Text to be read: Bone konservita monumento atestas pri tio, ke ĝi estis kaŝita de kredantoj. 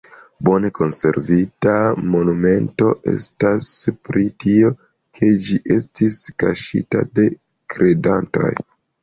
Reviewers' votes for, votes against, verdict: 0, 2, rejected